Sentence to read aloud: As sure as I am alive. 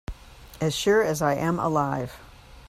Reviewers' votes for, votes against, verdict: 2, 0, accepted